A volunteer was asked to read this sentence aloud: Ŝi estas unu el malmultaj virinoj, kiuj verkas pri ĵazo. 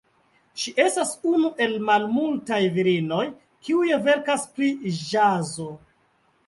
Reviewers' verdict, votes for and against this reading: accepted, 2, 1